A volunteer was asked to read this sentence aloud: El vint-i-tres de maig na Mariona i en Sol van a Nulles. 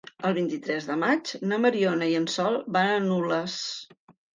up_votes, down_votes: 0, 2